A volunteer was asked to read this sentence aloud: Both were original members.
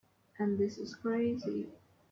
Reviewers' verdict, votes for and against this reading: rejected, 1, 2